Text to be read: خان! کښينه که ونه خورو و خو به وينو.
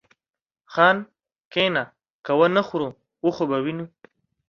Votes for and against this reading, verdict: 2, 0, accepted